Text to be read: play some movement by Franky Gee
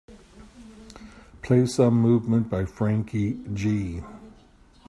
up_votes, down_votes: 2, 0